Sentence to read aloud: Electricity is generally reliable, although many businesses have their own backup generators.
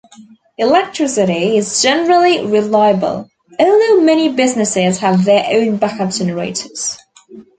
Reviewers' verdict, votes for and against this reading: accepted, 3, 0